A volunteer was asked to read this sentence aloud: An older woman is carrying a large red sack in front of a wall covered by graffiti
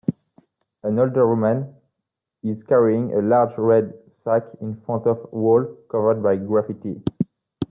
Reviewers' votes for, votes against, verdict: 2, 1, accepted